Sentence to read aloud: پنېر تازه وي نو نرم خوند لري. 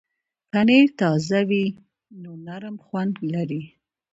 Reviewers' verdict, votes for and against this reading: rejected, 1, 2